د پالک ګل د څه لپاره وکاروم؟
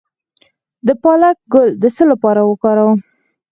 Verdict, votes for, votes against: accepted, 4, 2